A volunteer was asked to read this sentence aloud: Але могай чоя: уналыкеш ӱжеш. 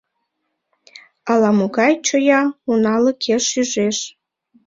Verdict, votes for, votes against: rejected, 1, 2